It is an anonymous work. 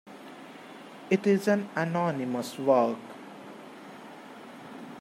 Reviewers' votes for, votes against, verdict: 2, 1, accepted